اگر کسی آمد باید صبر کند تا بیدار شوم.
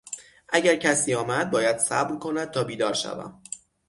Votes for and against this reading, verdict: 6, 0, accepted